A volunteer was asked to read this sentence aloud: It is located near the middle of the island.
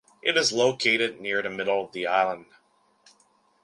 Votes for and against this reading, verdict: 0, 2, rejected